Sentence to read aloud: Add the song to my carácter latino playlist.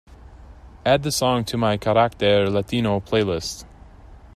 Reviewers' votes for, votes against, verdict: 2, 0, accepted